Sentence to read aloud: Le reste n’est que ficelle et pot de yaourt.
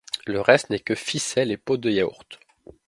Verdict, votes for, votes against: accepted, 2, 0